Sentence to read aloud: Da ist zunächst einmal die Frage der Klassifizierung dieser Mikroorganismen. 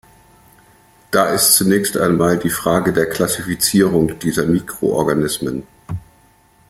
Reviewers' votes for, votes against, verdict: 2, 0, accepted